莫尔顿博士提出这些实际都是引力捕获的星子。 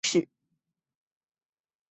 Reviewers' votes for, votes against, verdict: 0, 3, rejected